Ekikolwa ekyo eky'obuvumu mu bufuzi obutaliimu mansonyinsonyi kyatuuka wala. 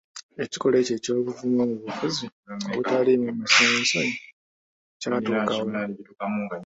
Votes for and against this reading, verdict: 3, 1, accepted